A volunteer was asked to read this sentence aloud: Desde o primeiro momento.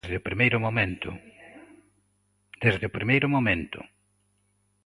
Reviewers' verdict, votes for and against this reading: rejected, 0, 2